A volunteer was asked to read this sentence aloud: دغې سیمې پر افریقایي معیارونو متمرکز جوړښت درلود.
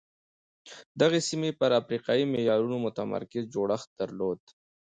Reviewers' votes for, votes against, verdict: 2, 3, rejected